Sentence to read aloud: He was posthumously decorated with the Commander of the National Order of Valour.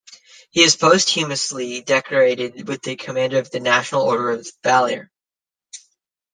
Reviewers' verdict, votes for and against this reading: rejected, 0, 2